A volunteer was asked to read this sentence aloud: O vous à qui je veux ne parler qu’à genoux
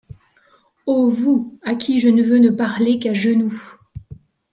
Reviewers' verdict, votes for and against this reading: rejected, 0, 2